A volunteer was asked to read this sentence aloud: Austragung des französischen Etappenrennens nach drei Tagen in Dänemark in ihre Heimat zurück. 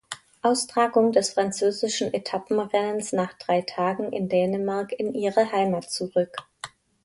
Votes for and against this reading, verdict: 2, 0, accepted